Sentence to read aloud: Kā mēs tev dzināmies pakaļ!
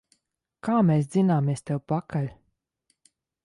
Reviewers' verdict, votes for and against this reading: rejected, 1, 2